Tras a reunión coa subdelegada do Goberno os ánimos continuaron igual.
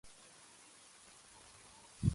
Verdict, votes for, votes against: rejected, 0, 2